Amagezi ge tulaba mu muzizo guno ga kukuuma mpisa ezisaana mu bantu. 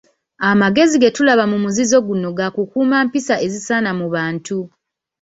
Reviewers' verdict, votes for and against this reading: accepted, 2, 0